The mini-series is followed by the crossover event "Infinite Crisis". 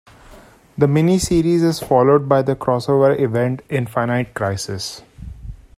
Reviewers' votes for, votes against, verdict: 1, 2, rejected